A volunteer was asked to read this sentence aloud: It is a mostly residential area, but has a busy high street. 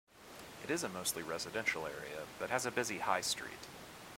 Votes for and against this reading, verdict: 2, 0, accepted